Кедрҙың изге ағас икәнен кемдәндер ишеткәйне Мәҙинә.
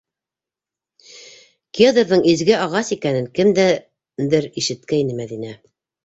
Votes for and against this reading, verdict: 0, 2, rejected